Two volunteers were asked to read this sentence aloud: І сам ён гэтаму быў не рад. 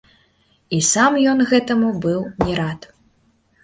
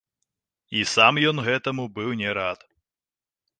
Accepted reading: first